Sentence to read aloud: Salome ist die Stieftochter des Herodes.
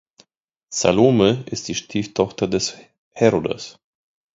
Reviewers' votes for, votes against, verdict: 1, 2, rejected